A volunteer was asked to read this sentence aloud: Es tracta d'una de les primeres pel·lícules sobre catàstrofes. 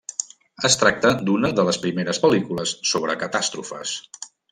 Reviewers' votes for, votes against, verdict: 3, 0, accepted